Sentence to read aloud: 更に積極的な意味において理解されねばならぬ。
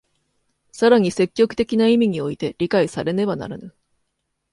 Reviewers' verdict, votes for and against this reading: accepted, 2, 0